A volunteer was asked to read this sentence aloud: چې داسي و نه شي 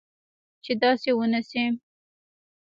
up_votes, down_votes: 2, 1